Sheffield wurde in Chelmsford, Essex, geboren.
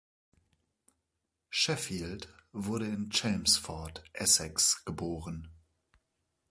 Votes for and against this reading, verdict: 2, 0, accepted